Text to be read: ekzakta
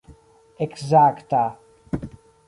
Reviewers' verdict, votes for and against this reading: rejected, 1, 2